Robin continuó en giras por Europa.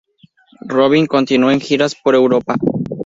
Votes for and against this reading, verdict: 2, 0, accepted